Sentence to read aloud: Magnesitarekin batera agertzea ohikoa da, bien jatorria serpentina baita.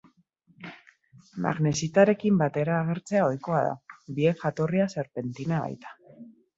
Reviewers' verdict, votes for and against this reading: rejected, 0, 2